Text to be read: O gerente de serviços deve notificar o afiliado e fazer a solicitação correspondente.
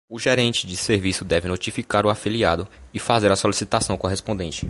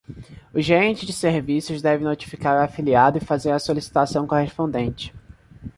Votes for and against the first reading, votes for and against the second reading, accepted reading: 1, 2, 2, 0, second